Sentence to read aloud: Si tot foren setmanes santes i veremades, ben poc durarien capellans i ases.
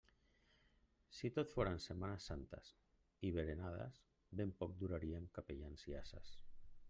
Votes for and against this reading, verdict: 1, 2, rejected